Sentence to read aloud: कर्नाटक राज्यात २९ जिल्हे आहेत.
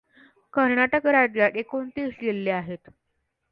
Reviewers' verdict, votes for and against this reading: rejected, 0, 2